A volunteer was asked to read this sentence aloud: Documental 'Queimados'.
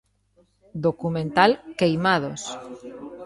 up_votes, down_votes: 2, 0